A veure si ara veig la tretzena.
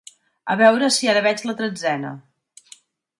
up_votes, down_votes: 4, 0